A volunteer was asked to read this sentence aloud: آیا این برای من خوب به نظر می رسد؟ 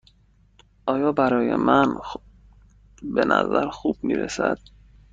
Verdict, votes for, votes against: rejected, 0, 2